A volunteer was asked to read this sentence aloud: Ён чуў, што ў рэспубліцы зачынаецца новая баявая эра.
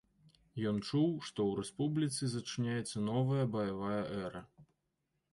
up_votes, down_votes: 2, 1